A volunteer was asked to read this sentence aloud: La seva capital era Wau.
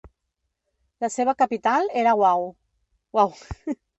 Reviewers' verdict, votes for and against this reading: rejected, 1, 2